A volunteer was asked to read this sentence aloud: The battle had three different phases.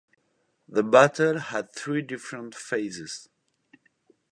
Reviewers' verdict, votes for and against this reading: accepted, 2, 0